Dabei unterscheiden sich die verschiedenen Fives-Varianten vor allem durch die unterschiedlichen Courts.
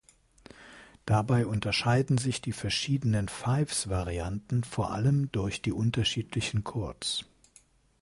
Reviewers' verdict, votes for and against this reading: accepted, 2, 0